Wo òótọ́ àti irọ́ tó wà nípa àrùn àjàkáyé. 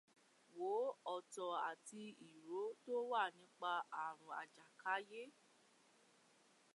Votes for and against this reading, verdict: 0, 2, rejected